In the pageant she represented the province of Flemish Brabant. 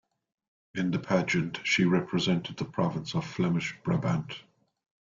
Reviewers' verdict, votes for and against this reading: accepted, 2, 0